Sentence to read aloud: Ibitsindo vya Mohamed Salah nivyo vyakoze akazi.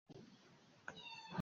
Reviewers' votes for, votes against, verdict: 0, 2, rejected